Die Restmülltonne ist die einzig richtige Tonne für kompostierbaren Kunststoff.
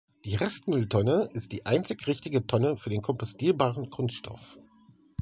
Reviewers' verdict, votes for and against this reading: rejected, 1, 2